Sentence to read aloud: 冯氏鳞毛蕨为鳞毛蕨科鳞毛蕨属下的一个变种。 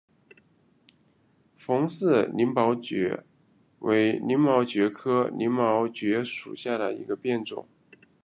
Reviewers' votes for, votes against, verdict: 2, 0, accepted